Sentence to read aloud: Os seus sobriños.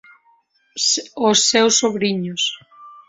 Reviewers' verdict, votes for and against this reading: rejected, 2, 3